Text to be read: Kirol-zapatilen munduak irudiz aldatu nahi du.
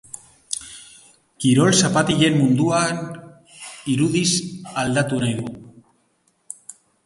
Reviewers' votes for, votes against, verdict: 0, 2, rejected